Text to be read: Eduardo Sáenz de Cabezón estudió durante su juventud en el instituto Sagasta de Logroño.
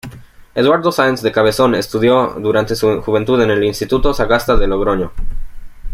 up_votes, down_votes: 2, 0